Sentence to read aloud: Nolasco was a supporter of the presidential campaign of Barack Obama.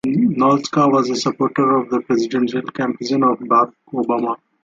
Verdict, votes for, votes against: accepted, 2, 1